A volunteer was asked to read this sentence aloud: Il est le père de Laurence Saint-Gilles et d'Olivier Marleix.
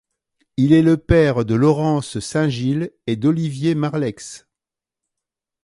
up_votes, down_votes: 2, 0